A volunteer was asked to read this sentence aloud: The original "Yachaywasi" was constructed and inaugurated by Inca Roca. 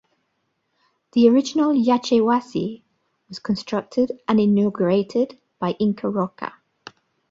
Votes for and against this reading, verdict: 2, 1, accepted